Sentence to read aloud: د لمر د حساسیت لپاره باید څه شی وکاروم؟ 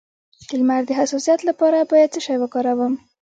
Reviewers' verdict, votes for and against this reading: rejected, 0, 3